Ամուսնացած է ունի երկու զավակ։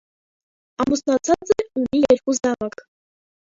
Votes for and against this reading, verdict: 0, 2, rejected